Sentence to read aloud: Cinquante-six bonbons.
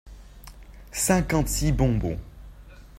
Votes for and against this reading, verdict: 2, 0, accepted